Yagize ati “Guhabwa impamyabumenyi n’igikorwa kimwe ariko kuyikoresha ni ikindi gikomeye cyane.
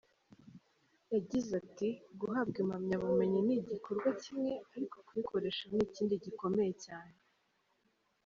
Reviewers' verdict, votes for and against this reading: accepted, 2, 0